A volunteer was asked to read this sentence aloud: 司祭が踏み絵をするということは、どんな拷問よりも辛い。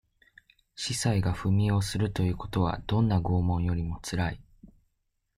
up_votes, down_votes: 2, 0